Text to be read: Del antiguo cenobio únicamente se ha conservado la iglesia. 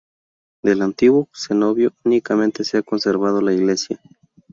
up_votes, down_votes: 0, 2